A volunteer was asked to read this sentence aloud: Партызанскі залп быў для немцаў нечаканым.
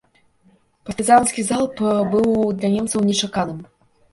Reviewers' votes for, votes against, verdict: 1, 2, rejected